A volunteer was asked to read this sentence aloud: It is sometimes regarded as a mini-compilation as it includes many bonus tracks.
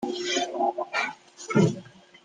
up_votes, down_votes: 0, 2